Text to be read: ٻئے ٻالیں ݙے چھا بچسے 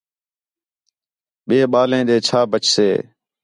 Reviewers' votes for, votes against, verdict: 4, 0, accepted